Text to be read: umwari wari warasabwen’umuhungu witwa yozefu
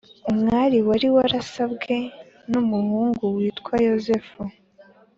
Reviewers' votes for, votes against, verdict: 2, 0, accepted